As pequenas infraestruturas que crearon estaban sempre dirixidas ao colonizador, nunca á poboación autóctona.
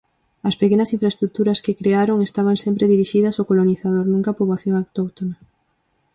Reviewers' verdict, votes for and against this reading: accepted, 4, 0